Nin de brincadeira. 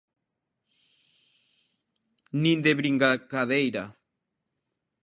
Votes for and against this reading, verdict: 0, 2, rejected